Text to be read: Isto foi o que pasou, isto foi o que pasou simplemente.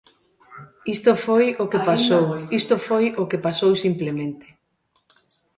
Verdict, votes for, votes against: rejected, 1, 2